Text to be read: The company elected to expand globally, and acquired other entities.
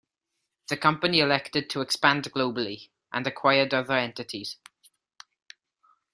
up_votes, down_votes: 2, 0